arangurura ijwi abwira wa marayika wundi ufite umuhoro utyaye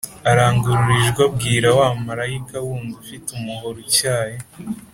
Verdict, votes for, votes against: accepted, 2, 0